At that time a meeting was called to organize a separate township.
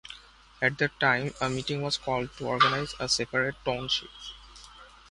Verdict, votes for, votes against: accepted, 2, 0